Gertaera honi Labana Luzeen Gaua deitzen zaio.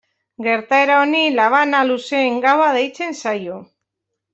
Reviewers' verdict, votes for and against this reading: accepted, 2, 1